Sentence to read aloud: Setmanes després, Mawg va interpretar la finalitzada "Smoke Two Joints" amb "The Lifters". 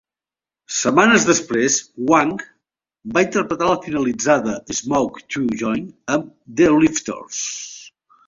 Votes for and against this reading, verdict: 0, 3, rejected